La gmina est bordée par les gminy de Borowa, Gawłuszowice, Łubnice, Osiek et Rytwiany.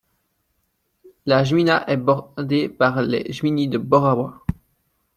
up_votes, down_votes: 0, 2